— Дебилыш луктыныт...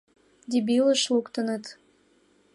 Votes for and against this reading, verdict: 2, 0, accepted